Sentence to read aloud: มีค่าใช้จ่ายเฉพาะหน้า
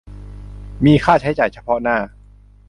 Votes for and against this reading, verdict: 2, 0, accepted